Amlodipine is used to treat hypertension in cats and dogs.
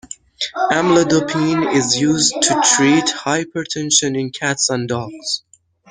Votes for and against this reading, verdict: 1, 2, rejected